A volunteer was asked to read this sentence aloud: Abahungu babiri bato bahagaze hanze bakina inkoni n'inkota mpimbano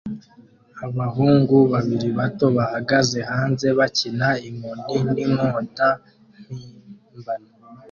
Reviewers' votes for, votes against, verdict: 2, 1, accepted